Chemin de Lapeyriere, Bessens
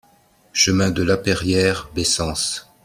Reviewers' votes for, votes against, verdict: 2, 0, accepted